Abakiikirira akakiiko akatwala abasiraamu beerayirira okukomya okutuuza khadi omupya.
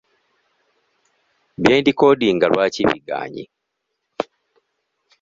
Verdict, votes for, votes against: rejected, 0, 2